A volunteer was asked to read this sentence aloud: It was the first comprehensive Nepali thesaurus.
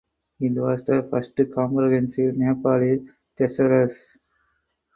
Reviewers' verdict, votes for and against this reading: accepted, 4, 0